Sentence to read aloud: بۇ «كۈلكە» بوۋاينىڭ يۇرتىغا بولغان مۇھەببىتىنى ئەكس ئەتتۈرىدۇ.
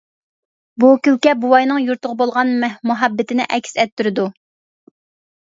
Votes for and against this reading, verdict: 0, 2, rejected